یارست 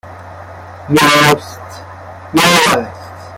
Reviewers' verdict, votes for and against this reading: rejected, 0, 2